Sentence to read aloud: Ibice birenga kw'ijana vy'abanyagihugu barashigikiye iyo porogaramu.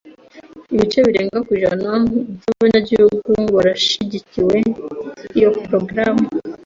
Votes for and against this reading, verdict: 1, 2, rejected